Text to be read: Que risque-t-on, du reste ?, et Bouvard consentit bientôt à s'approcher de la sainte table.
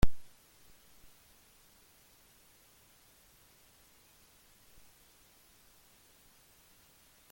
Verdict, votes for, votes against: rejected, 0, 2